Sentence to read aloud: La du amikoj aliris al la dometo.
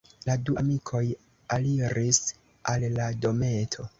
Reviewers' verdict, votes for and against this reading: rejected, 1, 2